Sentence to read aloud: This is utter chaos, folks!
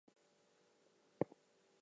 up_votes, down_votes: 0, 4